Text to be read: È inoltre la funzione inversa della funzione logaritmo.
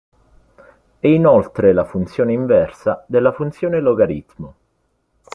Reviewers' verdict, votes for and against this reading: accepted, 2, 0